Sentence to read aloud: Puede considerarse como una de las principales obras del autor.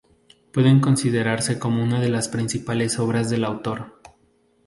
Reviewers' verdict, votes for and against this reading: rejected, 0, 2